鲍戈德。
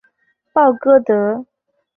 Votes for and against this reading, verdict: 2, 0, accepted